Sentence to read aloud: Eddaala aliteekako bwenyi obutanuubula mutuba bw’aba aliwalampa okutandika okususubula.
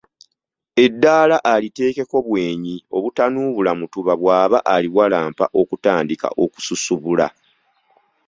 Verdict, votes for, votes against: accepted, 2, 0